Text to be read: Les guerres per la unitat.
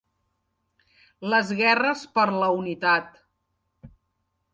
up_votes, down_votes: 3, 0